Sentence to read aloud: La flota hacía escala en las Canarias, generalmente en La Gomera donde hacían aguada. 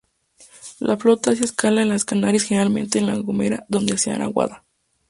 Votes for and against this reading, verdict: 2, 2, rejected